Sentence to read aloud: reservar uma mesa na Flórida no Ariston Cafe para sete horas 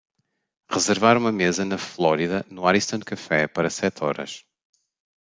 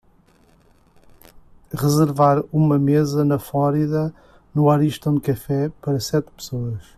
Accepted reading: first